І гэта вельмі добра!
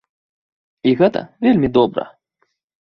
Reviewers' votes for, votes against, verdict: 2, 0, accepted